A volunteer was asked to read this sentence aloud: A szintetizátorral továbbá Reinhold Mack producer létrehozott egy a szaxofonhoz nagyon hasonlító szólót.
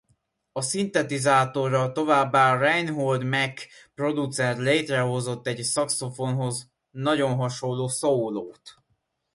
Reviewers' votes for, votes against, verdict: 0, 2, rejected